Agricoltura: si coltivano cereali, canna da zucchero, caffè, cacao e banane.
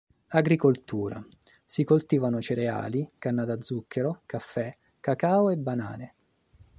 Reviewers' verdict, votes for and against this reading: accepted, 3, 0